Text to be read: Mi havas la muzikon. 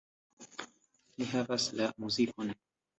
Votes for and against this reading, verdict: 2, 1, accepted